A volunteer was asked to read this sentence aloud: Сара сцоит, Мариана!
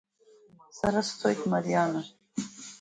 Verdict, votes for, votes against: accepted, 2, 1